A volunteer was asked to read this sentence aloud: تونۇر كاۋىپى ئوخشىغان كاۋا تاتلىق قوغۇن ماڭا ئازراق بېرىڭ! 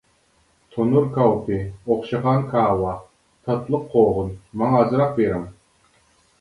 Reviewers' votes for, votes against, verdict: 2, 1, accepted